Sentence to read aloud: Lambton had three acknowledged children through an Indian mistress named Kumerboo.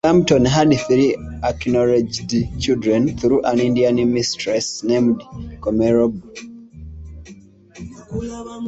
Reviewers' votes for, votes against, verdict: 1, 2, rejected